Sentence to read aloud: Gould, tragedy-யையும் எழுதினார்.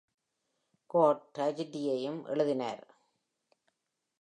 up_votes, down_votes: 2, 0